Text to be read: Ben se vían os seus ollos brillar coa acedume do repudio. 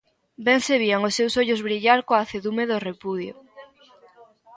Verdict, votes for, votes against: accepted, 2, 0